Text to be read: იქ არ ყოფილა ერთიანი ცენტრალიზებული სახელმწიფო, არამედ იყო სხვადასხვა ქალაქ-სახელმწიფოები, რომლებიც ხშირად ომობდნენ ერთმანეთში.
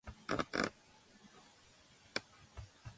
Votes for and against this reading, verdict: 0, 2, rejected